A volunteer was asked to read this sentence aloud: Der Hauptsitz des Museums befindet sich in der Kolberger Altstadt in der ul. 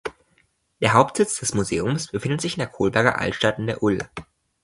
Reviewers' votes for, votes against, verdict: 2, 0, accepted